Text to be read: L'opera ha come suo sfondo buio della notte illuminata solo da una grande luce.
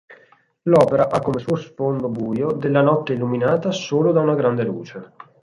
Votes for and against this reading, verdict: 4, 2, accepted